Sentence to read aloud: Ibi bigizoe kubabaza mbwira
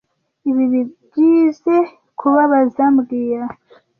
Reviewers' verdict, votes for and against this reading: rejected, 1, 2